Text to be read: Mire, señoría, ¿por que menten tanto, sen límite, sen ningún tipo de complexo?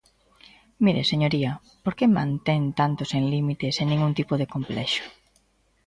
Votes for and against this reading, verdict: 1, 2, rejected